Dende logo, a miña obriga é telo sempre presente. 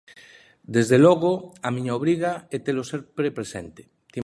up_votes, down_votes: 0, 2